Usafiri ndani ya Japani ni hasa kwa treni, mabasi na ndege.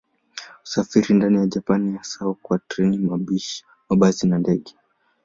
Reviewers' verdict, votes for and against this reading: rejected, 8, 13